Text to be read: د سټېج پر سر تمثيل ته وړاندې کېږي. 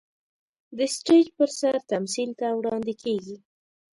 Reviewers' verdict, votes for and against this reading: rejected, 1, 2